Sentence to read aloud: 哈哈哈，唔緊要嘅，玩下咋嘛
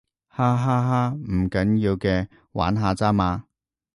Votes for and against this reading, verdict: 2, 0, accepted